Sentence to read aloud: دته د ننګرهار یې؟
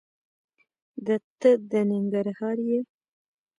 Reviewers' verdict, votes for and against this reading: rejected, 1, 2